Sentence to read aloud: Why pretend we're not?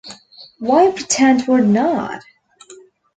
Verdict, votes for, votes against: accepted, 2, 0